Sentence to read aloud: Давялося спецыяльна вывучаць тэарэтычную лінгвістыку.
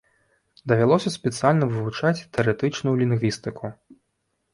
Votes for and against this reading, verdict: 0, 2, rejected